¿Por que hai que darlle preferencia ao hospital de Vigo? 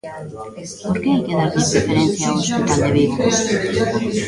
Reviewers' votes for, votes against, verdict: 0, 2, rejected